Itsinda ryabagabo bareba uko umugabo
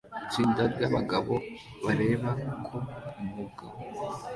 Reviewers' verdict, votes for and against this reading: accepted, 2, 0